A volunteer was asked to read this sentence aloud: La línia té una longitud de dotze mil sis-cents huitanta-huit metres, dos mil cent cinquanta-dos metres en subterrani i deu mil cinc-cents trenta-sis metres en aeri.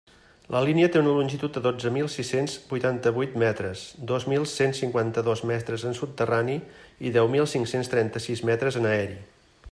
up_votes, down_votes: 2, 0